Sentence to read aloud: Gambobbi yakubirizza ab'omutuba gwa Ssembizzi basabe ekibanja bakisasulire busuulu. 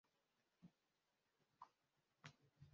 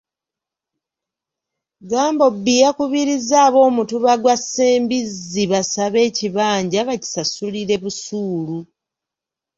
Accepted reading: second